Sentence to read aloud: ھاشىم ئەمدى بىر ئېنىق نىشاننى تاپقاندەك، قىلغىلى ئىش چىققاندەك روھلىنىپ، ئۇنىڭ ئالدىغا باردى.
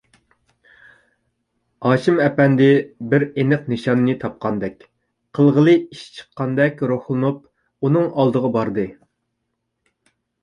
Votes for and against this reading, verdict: 0, 2, rejected